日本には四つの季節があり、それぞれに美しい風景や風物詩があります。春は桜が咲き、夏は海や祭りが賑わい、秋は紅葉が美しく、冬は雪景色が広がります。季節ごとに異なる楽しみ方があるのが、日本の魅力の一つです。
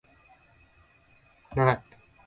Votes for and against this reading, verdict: 0, 2, rejected